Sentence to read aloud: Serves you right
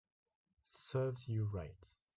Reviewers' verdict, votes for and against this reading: accepted, 2, 0